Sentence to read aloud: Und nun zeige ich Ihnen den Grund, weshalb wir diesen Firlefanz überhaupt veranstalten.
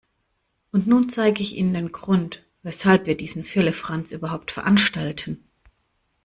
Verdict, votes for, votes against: rejected, 1, 2